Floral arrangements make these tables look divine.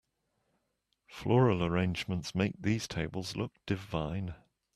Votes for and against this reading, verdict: 2, 1, accepted